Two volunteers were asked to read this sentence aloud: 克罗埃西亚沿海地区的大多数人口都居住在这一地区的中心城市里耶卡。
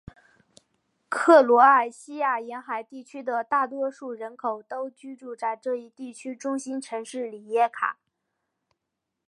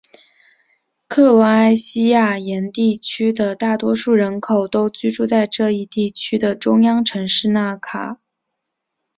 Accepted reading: first